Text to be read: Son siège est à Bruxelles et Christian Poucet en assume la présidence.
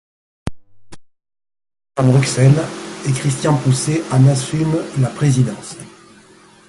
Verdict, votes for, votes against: rejected, 0, 2